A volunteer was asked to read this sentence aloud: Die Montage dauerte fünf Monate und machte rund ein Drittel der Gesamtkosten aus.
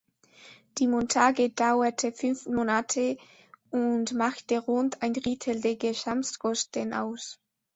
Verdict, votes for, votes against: rejected, 1, 2